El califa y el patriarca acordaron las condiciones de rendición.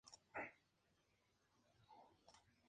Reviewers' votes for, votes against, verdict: 0, 2, rejected